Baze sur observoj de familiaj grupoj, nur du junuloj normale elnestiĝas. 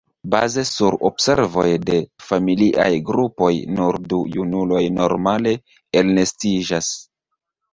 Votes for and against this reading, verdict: 2, 0, accepted